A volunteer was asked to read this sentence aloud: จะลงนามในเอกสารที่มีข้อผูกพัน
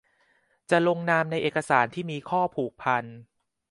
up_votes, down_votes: 2, 0